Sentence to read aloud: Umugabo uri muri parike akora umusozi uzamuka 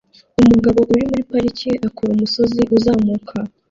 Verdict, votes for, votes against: rejected, 1, 2